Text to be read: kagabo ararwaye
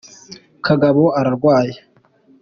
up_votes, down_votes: 2, 0